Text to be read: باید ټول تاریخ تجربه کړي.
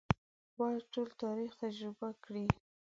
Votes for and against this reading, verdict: 2, 1, accepted